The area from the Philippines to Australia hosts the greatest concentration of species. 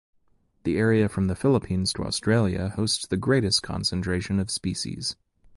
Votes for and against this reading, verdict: 2, 0, accepted